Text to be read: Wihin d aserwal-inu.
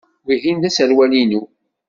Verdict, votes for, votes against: accepted, 2, 0